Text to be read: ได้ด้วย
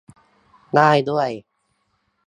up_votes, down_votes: 2, 0